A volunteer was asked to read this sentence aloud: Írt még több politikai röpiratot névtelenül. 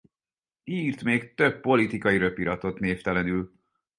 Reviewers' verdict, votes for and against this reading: accepted, 4, 2